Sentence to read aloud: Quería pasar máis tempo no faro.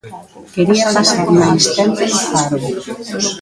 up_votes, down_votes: 1, 2